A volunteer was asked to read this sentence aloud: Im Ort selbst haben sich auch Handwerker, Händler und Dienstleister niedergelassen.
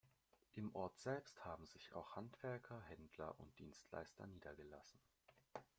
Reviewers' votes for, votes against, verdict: 2, 0, accepted